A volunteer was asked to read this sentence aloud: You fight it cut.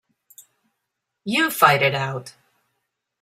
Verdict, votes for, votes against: rejected, 0, 2